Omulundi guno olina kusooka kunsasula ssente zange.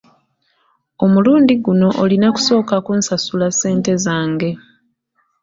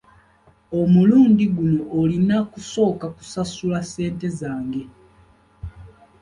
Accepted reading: first